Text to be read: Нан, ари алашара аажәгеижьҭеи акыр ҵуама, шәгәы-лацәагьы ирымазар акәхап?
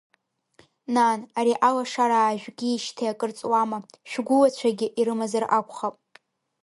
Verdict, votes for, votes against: accepted, 2, 0